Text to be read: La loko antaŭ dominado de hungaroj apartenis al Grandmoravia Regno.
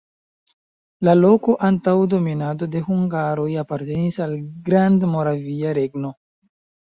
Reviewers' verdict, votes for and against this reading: accepted, 2, 0